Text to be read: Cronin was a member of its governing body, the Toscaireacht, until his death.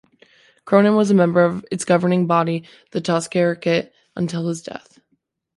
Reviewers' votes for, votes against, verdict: 2, 0, accepted